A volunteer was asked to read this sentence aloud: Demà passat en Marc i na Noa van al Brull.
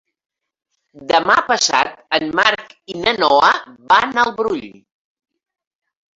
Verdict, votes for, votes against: rejected, 1, 2